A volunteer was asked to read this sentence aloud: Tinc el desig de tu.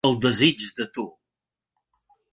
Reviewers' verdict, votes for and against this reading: rejected, 1, 2